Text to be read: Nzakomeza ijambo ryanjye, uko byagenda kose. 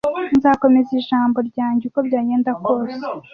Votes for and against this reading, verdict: 2, 0, accepted